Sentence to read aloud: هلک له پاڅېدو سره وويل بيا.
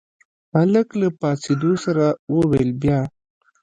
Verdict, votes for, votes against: rejected, 1, 2